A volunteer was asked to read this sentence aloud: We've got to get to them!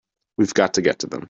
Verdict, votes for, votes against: accepted, 2, 0